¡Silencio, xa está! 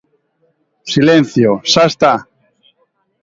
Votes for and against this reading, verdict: 2, 0, accepted